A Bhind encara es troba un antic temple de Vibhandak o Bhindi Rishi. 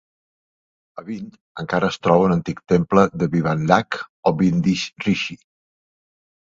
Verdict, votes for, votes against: accepted, 2, 0